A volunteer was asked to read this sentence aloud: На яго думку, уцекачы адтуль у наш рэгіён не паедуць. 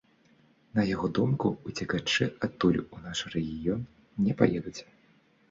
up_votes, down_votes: 2, 0